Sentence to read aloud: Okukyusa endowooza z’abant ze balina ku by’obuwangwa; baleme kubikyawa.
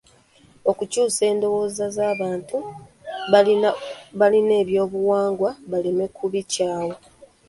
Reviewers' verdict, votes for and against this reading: rejected, 1, 2